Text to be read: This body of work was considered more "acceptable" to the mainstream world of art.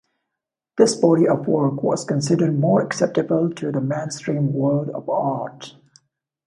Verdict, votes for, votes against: rejected, 0, 2